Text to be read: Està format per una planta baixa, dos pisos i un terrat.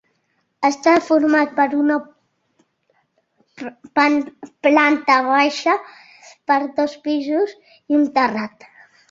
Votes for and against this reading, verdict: 0, 2, rejected